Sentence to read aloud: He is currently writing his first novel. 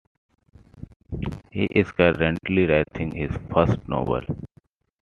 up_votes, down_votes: 2, 1